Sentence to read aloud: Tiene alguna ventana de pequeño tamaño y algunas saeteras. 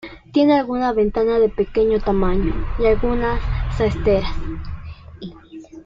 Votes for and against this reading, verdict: 0, 2, rejected